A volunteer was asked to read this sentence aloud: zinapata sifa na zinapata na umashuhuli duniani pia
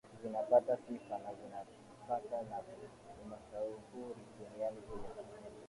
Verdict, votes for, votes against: rejected, 1, 2